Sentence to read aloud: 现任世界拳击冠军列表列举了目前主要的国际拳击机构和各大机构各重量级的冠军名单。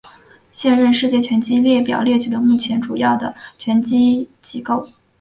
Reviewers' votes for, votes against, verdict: 1, 4, rejected